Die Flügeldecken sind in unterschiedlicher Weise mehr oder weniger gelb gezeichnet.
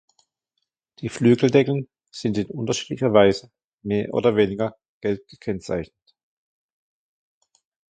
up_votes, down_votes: 0, 2